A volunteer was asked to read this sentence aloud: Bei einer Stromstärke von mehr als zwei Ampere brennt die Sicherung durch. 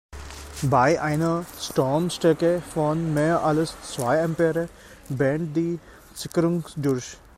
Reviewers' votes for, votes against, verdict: 0, 3, rejected